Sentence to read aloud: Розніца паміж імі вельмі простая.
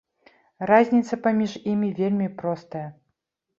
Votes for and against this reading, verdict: 1, 2, rejected